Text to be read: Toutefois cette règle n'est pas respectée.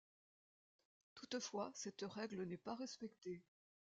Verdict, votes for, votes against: accepted, 2, 0